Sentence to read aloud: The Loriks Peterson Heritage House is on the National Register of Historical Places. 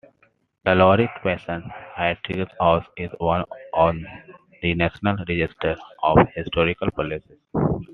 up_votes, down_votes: 1, 2